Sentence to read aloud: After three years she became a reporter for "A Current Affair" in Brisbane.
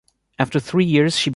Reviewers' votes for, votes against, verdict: 0, 2, rejected